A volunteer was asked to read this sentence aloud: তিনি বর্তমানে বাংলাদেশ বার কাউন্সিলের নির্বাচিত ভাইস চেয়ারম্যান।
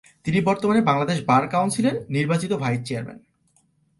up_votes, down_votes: 3, 0